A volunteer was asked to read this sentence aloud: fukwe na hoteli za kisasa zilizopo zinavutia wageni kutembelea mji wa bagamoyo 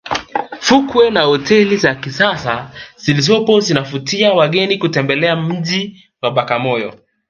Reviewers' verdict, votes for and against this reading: rejected, 1, 2